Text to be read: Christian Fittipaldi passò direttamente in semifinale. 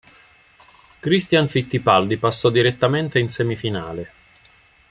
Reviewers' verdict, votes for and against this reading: accepted, 2, 0